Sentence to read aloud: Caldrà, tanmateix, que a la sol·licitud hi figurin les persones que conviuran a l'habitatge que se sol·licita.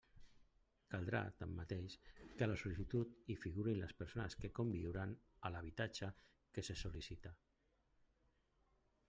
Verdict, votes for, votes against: rejected, 0, 2